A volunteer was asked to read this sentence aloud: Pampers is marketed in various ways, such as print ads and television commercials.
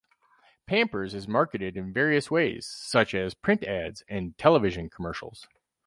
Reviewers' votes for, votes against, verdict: 2, 2, rejected